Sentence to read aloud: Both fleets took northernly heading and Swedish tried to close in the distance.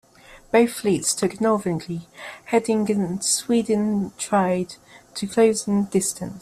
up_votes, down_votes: 0, 2